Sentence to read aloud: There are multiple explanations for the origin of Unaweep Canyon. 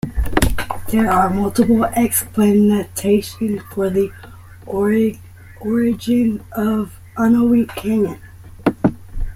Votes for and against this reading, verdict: 1, 2, rejected